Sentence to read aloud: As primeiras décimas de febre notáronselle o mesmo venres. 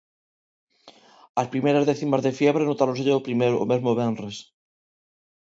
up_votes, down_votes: 0, 2